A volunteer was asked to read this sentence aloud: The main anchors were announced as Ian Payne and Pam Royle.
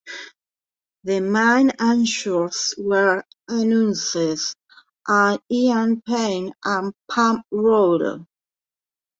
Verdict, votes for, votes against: rejected, 1, 3